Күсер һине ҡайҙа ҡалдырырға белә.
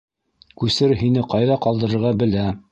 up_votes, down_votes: 1, 2